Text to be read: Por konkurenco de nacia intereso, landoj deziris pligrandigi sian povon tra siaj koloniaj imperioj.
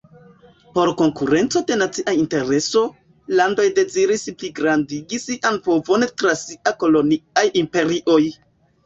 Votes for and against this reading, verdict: 3, 1, accepted